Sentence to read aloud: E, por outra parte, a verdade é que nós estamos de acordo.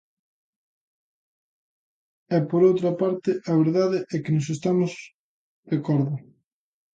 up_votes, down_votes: 1, 2